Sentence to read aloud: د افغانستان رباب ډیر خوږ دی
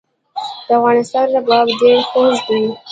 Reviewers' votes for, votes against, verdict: 2, 0, accepted